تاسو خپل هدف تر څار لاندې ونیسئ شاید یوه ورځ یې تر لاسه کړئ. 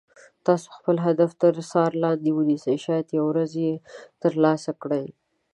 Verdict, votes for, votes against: accepted, 2, 0